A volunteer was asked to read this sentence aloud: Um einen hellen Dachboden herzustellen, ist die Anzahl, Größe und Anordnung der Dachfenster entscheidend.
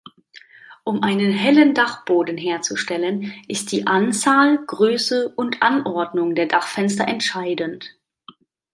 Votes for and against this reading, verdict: 2, 0, accepted